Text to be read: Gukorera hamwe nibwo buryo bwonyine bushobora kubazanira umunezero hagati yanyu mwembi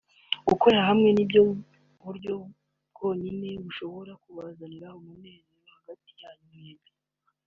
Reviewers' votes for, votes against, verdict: 0, 2, rejected